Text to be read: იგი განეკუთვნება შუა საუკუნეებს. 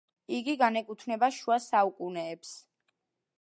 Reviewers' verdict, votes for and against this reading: accepted, 2, 0